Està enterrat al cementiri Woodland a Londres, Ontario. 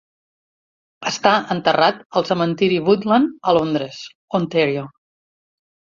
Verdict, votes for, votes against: accepted, 4, 1